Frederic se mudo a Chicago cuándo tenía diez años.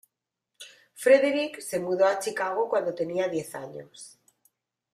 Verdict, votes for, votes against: accepted, 2, 0